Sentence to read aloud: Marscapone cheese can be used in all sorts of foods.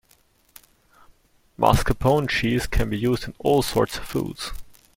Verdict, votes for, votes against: rejected, 1, 2